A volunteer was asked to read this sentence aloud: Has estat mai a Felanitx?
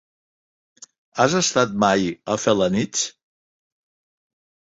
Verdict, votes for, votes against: accepted, 2, 0